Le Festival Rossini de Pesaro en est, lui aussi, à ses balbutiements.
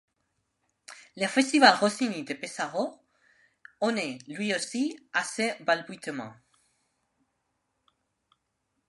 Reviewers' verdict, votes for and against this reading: rejected, 1, 2